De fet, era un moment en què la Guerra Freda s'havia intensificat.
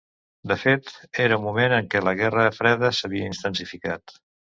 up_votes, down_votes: 1, 2